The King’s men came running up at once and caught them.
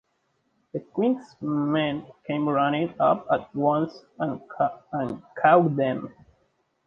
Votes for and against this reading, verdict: 1, 2, rejected